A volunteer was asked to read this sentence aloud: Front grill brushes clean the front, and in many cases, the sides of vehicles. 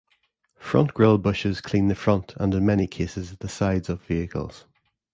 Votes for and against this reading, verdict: 2, 1, accepted